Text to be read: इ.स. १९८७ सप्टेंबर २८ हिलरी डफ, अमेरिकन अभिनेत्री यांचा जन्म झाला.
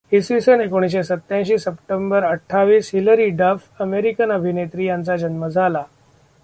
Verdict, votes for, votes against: rejected, 0, 2